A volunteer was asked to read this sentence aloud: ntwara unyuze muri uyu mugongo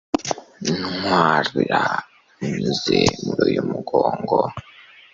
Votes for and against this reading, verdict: 2, 1, accepted